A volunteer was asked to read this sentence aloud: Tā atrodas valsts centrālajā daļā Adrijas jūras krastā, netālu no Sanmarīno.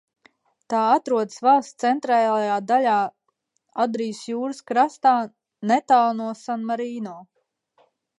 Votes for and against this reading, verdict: 1, 2, rejected